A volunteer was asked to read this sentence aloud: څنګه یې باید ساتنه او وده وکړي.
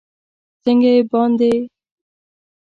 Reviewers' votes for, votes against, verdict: 2, 4, rejected